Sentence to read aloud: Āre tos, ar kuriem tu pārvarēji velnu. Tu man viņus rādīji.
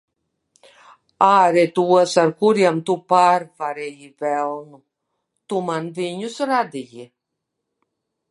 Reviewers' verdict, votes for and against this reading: accepted, 3, 0